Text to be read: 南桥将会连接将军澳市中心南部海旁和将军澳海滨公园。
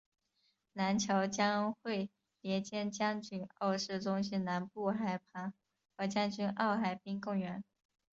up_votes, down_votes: 2, 1